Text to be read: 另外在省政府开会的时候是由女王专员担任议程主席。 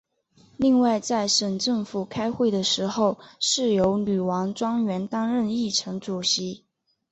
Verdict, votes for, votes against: accepted, 2, 0